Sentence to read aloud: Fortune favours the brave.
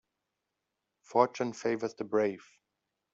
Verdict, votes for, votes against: accepted, 2, 0